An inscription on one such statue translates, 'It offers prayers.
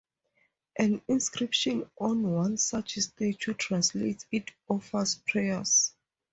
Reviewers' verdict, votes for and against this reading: accepted, 4, 0